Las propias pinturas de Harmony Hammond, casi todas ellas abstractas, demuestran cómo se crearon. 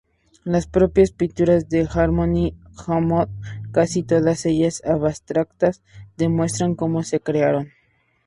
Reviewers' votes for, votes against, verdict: 0, 2, rejected